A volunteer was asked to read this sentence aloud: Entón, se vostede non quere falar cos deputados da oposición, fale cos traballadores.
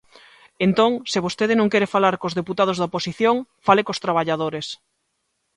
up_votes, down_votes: 2, 1